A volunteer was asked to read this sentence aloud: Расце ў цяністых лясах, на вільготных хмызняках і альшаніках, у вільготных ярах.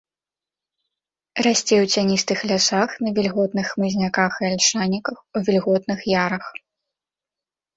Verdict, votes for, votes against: accepted, 2, 0